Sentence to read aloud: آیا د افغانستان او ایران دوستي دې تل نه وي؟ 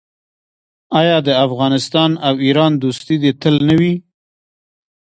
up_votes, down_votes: 2, 0